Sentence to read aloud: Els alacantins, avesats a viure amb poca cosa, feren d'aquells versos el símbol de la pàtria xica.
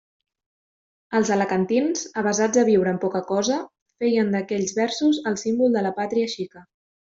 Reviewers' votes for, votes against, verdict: 0, 2, rejected